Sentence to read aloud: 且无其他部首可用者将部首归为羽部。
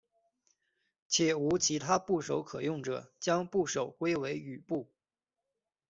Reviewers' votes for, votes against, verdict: 2, 0, accepted